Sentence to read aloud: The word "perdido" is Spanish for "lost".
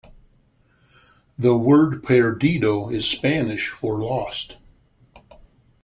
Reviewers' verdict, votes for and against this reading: accepted, 2, 0